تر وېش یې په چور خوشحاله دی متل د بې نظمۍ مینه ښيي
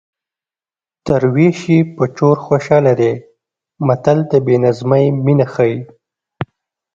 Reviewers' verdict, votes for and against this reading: accepted, 2, 0